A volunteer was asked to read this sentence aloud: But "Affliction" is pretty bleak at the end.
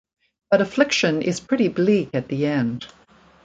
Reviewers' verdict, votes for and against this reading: rejected, 1, 2